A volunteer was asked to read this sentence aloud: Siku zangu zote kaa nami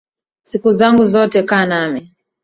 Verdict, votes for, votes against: rejected, 0, 2